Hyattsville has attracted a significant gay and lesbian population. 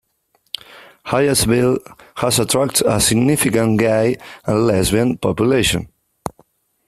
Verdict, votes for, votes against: accepted, 3, 0